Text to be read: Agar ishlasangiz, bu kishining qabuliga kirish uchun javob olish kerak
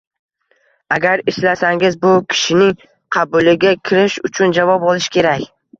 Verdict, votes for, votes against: rejected, 0, 2